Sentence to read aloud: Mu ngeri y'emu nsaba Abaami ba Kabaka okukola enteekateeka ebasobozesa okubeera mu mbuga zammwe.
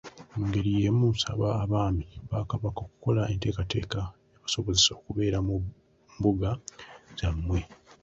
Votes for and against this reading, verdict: 0, 2, rejected